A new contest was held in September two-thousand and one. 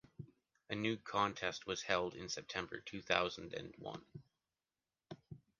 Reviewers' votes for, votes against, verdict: 2, 1, accepted